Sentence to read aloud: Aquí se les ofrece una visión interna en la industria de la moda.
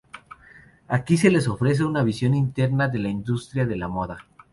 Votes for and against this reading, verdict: 0, 2, rejected